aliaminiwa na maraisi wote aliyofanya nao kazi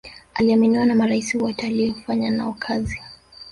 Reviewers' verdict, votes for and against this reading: rejected, 1, 2